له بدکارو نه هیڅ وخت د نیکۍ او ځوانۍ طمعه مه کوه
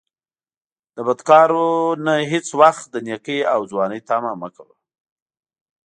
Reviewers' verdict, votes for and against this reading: accepted, 2, 0